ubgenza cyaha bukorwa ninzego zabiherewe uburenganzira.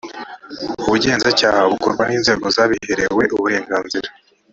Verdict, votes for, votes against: rejected, 1, 2